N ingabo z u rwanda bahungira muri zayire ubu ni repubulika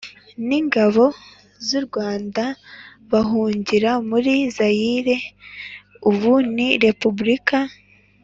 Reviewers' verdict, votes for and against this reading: accepted, 3, 0